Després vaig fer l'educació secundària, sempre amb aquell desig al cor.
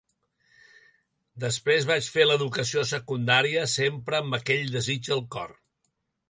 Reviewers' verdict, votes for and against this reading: accepted, 2, 0